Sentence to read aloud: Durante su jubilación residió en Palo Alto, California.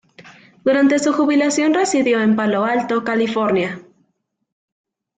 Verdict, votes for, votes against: rejected, 0, 2